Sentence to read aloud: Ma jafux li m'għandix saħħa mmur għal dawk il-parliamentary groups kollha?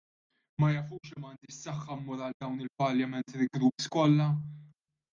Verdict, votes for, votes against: rejected, 0, 2